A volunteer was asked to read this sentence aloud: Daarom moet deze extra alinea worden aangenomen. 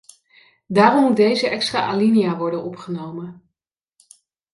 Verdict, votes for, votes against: rejected, 0, 2